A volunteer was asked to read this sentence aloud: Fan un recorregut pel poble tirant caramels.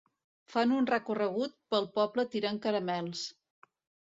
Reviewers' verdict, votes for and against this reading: accepted, 2, 0